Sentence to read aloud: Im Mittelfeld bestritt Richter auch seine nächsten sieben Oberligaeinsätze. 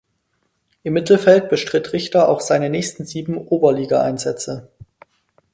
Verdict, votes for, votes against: accepted, 4, 0